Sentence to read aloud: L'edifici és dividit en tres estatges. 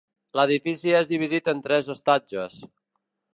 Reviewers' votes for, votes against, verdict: 2, 0, accepted